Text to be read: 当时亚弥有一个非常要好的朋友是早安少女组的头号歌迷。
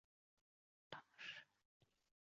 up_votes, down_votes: 0, 2